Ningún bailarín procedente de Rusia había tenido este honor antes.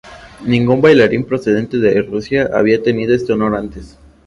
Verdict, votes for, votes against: accepted, 2, 0